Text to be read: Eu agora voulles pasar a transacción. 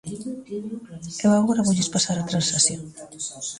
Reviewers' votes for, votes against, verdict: 0, 2, rejected